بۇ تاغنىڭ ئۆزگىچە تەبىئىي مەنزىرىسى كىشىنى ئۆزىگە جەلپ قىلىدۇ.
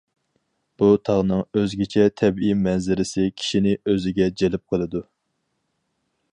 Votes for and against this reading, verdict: 4, 0, accepted